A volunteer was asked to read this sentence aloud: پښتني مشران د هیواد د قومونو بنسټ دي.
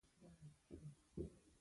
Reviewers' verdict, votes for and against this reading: rejected, 1, 2